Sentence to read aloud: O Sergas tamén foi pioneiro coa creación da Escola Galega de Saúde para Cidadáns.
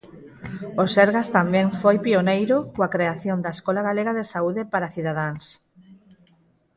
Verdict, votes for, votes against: rejected, 0, 4